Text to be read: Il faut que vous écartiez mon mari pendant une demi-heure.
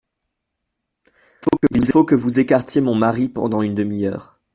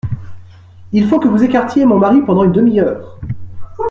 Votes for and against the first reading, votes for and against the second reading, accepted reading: 1, 2, 2, 0, second